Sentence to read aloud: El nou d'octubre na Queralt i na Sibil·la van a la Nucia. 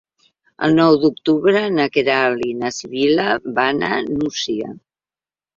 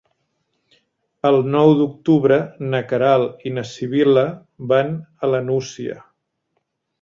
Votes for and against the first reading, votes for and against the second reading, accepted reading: 1, 3, 3, 0, second